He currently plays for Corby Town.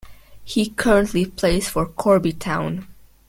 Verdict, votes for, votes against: accepted, 2, 0